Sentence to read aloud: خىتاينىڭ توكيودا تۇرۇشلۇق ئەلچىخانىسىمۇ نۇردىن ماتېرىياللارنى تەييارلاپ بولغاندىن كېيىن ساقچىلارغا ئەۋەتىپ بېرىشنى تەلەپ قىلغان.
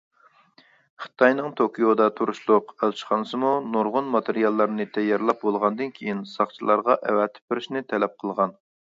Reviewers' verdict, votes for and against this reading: accepted, 2, 1